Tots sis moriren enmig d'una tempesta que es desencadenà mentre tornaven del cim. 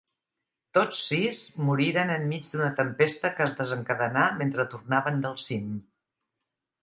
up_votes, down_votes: 4, 0